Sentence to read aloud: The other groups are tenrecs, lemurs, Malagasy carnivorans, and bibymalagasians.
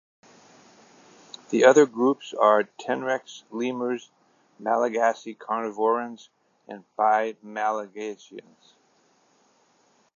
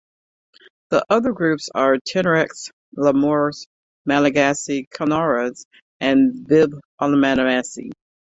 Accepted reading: first